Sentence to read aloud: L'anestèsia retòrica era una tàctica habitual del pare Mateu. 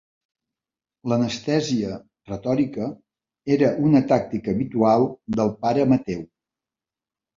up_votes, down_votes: 4, 0